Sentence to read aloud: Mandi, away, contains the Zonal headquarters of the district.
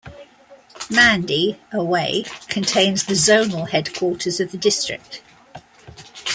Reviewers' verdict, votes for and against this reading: accepted, 2, 0